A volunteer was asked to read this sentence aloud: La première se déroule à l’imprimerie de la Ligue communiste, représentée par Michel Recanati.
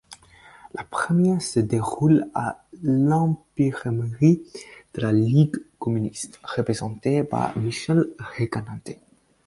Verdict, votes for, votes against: rejected, 0, 4